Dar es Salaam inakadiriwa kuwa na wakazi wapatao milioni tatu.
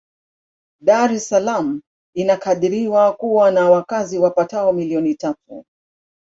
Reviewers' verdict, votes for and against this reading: accepted, 2, 0